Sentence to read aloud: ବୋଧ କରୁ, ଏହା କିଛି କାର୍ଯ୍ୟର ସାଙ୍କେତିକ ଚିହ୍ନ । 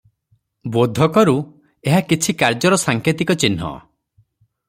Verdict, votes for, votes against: accepted, 3, 0